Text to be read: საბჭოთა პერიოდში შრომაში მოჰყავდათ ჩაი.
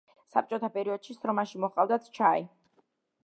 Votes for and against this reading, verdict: 0, 2, rejected